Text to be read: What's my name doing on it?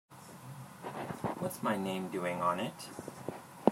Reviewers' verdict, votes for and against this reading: accepted, 2, 0